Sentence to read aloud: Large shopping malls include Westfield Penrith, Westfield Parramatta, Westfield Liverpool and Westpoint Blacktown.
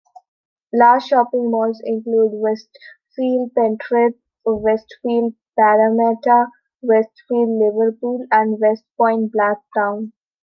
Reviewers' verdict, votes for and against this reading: accepted, 2, 1